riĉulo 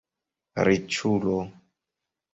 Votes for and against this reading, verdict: 2, 0, accepted